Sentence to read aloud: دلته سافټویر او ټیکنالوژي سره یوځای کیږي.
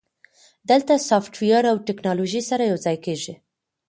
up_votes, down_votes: 3, 0